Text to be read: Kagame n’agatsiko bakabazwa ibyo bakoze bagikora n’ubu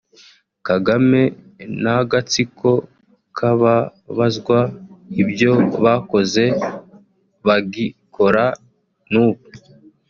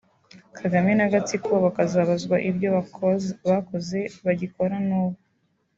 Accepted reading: second